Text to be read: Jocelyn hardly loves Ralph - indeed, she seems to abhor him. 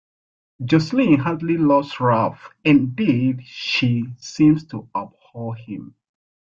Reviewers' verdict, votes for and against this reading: accepted, 2, 0